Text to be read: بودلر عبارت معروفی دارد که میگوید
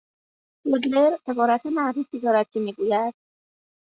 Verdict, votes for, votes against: rejected, 1, 2